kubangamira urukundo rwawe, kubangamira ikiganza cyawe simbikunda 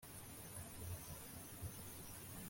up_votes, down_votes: 0, 2